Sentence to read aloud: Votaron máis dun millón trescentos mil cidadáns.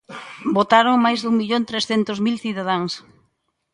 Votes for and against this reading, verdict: 2, 0, accepted